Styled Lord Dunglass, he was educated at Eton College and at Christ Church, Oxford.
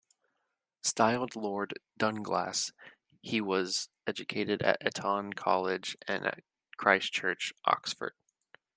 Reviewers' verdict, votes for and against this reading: accepted, 2, 1